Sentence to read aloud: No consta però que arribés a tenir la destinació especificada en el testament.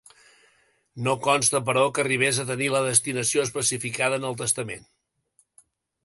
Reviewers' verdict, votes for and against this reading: accepted, 3, 0